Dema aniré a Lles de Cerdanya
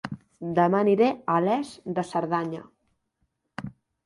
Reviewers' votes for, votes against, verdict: 0, 2, rejected